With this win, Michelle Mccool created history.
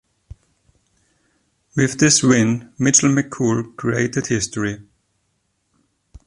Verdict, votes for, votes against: rejected, 0, 2